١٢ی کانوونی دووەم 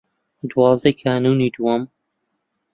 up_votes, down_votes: 0, 2